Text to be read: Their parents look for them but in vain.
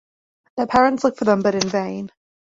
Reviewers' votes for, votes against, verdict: 2, 0, accepted